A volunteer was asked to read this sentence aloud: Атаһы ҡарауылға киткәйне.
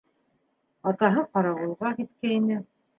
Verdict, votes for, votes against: accepted, 3, 0